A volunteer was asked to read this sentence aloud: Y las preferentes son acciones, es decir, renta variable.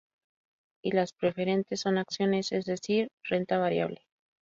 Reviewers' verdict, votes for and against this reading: accepted, 2, 0